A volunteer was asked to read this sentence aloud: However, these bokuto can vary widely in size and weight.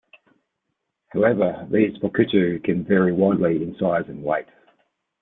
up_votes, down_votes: 2, 0